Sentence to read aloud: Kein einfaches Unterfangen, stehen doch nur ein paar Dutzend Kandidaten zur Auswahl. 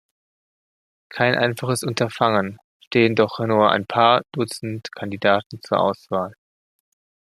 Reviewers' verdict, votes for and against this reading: accepted, 2, 0